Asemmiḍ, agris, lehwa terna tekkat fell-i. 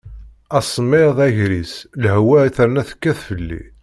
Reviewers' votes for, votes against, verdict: 2, 0, accepted